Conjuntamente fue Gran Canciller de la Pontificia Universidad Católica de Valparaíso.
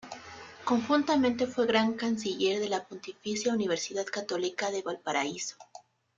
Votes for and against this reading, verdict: 3, 0, accepted